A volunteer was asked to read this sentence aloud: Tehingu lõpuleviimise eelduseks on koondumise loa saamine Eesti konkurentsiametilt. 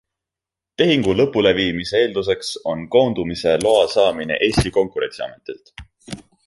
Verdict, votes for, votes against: accepted, 2, 0